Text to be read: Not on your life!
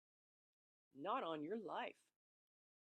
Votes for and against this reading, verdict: 2, 0, accepted